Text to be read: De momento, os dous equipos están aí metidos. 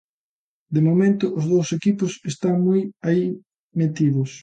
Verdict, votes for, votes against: rejected, 0, 2